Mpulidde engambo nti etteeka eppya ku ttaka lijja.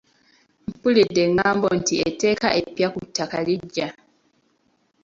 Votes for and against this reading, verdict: 1, 2, rejected